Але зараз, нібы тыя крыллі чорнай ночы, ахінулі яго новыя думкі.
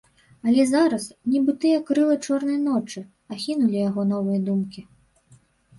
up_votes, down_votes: 2, 3